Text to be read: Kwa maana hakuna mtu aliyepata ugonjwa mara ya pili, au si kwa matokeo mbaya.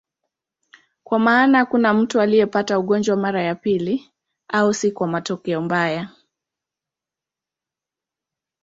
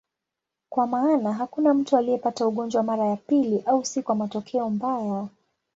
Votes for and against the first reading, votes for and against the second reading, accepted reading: 0, 2, 2, 0, second